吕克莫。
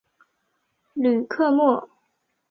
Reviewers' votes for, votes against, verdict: 4, 0, accepted